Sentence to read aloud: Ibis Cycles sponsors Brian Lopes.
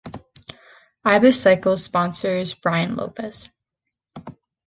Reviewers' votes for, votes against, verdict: 2, 0, accepted